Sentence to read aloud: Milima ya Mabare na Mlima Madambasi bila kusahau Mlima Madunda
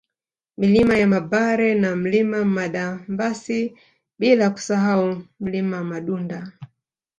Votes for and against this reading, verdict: 2, 1, accepted